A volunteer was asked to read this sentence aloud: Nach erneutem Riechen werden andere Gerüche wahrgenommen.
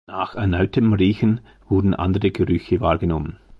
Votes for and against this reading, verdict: 1, 2, rejected